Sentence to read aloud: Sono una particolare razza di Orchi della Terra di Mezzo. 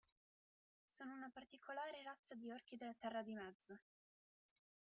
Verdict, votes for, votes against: accepted, 2, 0